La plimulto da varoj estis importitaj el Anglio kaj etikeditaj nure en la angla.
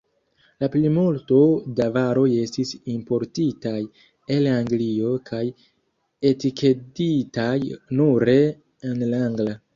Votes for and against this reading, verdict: 0, 2, rejected